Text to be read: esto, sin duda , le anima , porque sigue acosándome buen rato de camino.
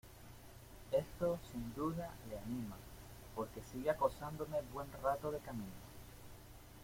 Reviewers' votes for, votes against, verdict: 2, 0, accepted